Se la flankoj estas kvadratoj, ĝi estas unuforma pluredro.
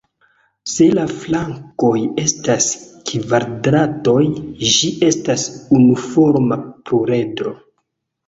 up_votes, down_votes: 1, 2